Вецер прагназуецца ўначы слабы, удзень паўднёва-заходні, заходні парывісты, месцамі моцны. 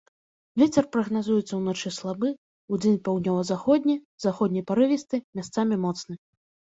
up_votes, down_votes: 0, 2